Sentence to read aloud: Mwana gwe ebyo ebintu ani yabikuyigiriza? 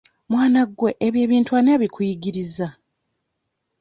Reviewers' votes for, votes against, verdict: 1, 2, rejected